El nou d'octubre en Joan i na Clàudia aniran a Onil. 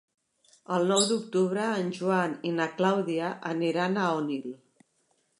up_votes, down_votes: 3, 0